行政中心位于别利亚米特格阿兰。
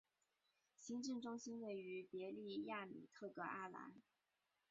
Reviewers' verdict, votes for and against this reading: rejected, 0, 3